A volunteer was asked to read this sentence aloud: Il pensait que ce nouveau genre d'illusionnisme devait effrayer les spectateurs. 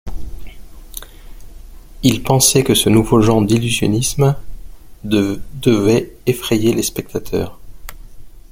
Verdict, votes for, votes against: rejected, 0, 2